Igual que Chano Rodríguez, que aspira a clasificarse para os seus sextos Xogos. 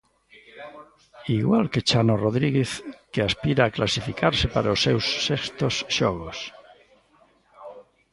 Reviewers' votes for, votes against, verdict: 0, 2, rejected